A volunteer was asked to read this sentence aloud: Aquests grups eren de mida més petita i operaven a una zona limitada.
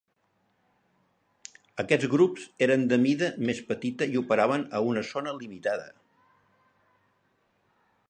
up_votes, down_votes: 4, 0